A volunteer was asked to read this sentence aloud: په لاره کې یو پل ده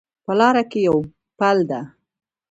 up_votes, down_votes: 1, 2